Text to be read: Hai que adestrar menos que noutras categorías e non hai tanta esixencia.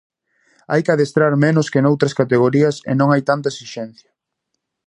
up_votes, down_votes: 2, 0